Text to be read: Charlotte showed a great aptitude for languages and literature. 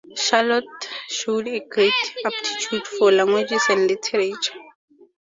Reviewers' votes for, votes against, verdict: 2, 4, rejected